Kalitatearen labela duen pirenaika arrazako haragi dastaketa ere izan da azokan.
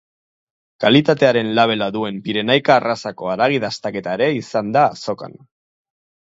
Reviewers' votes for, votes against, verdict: 2, 2, rejected